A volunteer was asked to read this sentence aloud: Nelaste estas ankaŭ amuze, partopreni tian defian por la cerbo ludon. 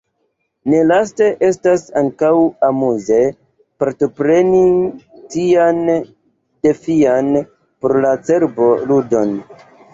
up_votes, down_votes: 5, 6